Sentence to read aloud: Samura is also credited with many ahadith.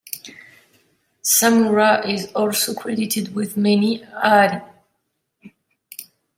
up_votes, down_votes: 0, 2